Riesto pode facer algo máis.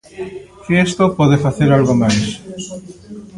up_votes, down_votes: 0, 2